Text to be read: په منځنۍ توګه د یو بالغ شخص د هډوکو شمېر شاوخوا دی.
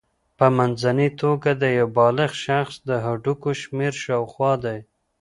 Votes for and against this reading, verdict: 2, 0, accepted